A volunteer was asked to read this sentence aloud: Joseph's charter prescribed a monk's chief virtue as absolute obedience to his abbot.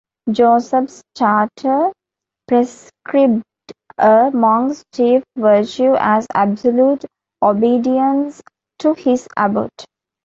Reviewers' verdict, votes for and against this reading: accepted, 2, 1